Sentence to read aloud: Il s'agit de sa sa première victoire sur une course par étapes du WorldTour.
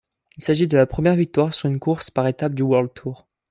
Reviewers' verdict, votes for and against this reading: rejected, 2, 3